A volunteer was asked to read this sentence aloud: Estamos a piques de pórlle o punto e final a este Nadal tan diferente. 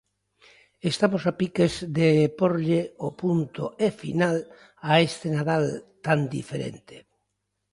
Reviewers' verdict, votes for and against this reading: accepted, 2, 0